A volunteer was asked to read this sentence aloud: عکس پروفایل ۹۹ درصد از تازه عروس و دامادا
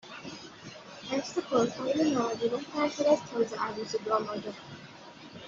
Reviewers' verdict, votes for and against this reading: rejected, 0, 2